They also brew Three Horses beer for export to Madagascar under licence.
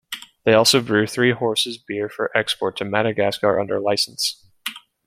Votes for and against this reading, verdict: 2, 0, accepted